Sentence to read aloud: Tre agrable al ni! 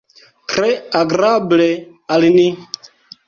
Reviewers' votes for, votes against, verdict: 1, 2, rejected